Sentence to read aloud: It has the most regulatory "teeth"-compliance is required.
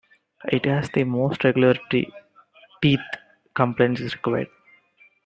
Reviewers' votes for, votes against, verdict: 2, 3, rejected